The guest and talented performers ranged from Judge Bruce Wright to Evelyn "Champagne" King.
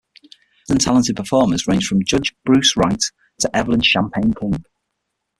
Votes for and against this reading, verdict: 0, 6, rejected